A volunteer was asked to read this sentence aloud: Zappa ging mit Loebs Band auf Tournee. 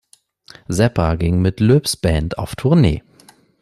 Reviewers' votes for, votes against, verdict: 2, 0, accepted